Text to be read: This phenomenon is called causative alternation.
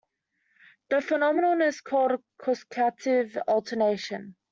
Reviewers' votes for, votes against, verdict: 0, 2, rejected